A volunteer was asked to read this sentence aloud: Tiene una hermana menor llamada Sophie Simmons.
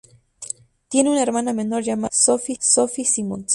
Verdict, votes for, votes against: rejected, 0, 2